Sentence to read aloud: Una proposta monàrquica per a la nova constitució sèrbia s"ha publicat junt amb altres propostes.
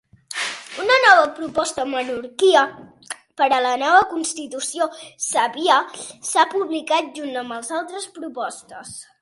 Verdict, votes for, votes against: rejected, 0, 2